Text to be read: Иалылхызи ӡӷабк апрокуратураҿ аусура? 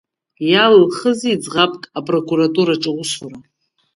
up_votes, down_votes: 1, 2